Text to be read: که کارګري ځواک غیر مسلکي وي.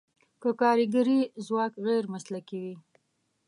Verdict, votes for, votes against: accepted, 2, 0